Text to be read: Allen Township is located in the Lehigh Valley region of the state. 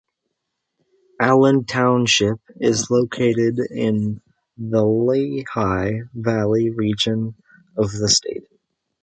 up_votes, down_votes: 0, 2